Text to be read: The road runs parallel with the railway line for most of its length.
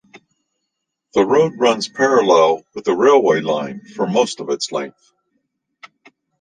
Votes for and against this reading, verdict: 2, 0, accepted